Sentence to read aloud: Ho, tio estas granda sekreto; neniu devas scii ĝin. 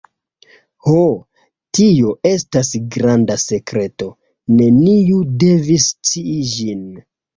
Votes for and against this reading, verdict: 0, 2, rejected